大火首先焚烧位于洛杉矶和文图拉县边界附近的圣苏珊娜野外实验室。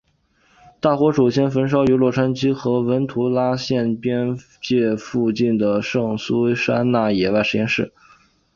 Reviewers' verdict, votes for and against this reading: accepted, 2, 1